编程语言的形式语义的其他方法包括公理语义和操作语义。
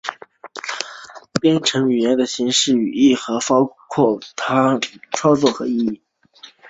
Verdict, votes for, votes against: rejected, 1, 2